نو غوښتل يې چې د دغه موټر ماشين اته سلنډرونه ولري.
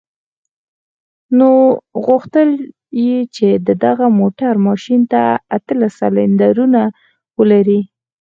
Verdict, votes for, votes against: rejected, 2, 4